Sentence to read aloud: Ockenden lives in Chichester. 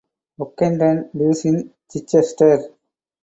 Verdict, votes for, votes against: accepted, 4, 2